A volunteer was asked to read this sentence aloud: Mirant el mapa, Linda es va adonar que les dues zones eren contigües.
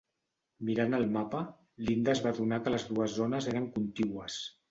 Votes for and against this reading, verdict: 2, 0, accepted